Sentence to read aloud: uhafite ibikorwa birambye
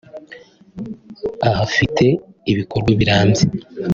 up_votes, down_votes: 1, 3